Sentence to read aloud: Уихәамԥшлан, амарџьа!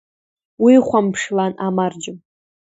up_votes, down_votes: 1, 2